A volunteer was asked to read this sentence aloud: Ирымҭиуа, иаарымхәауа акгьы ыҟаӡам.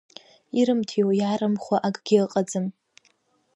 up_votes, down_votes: 0, 2